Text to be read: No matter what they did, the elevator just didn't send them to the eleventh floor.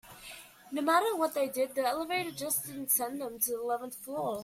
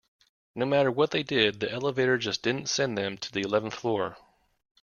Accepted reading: second